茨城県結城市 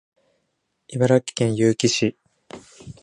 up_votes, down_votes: 4, 2